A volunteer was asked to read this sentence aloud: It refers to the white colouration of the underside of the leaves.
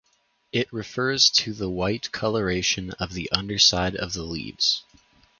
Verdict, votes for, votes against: accepted, 4, 0